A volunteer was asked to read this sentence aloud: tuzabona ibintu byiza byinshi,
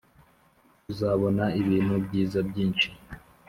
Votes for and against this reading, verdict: 2, 1, accepted